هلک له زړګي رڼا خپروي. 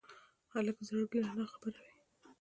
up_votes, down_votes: 1, 2